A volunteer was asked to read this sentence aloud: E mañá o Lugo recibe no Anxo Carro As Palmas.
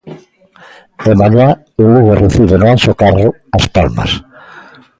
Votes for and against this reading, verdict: 2, 0, accepted